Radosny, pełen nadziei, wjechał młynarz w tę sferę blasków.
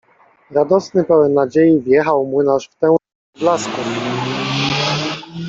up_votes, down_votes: 0, 2